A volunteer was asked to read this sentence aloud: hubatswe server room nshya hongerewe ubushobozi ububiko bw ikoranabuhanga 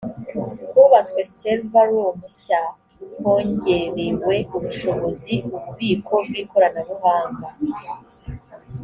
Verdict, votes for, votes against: accepted, 3, 0